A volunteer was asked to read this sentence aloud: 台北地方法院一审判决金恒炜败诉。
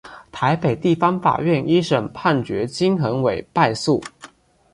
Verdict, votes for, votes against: accepted, 2, 0